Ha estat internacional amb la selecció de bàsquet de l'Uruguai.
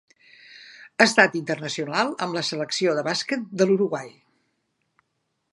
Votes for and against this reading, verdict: 3, 0, accepted